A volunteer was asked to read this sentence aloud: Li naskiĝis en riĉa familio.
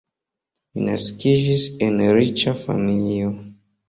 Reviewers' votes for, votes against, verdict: 1, 2, rejected